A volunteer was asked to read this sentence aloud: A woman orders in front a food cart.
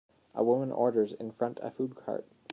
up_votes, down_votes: 3, 0